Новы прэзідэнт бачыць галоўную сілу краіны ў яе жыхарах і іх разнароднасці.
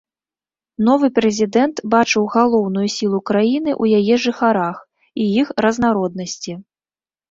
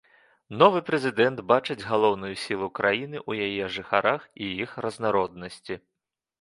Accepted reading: second